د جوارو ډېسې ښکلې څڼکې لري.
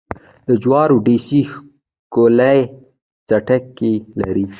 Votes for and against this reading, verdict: 1, 2, rejected